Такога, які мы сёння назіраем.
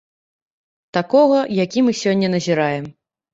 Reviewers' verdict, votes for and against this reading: accepted, 3, 0